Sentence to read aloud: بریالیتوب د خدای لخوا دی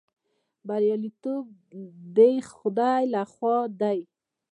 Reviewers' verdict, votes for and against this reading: accepted, 2, 1